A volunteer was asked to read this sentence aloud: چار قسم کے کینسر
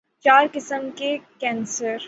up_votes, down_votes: 9, 0